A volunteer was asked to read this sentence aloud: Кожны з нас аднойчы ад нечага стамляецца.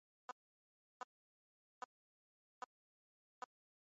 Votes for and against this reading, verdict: 1, 2, rejected